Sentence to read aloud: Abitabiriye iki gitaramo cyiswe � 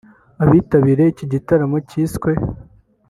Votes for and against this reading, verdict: 4, 0, accepted